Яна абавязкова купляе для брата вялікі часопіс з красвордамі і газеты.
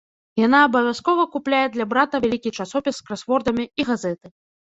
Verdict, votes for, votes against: rejected, 1, 2